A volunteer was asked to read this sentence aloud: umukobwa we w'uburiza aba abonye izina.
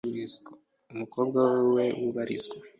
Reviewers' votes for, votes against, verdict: 0, 2, rejected